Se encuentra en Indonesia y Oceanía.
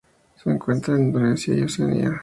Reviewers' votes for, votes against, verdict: 2, 0, accepted